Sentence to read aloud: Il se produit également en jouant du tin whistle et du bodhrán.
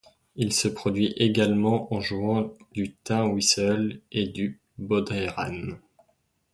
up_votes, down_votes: 1, 2